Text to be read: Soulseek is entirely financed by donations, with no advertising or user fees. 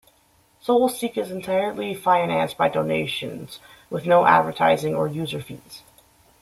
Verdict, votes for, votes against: accepted, 2, 0